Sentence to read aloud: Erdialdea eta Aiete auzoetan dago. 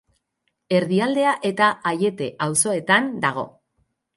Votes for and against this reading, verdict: 2, 2, rejected